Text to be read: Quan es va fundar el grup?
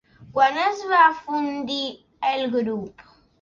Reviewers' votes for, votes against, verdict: 0, 2, rejected